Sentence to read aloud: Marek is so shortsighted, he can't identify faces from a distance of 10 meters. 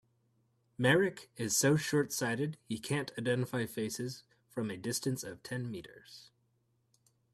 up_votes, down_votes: 0, 2